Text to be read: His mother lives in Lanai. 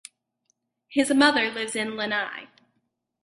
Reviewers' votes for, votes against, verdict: 4, 0, accepted